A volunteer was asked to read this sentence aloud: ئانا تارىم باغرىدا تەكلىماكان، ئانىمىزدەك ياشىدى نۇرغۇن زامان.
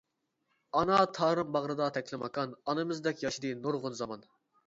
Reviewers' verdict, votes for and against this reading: accepted, 2, 1